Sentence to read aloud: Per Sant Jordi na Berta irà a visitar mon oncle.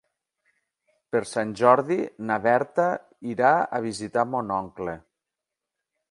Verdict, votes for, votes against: accepted, 3, 0